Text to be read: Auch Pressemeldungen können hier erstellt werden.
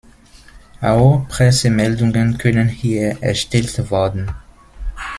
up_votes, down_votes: 0, 2